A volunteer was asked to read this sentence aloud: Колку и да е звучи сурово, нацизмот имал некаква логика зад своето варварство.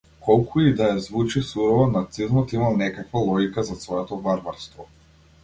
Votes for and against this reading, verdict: 2, 0, accepted